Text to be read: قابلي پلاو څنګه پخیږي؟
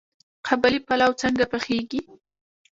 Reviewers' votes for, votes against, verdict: 1, 2, rejected